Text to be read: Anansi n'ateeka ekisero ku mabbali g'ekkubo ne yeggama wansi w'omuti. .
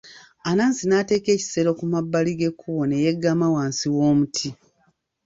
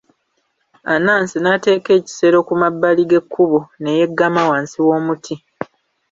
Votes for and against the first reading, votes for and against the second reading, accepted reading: 0, 2, 2, 0, second